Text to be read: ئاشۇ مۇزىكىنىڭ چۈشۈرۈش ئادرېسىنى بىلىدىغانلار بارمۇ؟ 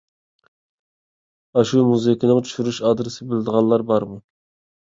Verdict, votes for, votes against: rejected, 1, 2